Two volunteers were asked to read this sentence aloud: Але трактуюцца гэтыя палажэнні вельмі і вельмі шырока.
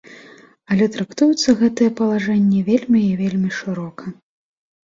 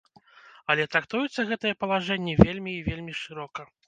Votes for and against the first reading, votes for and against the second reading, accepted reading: 2, 0, 1, 2, first